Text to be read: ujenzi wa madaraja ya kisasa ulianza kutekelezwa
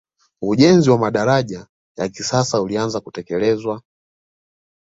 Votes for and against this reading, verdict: 2, 1, accepted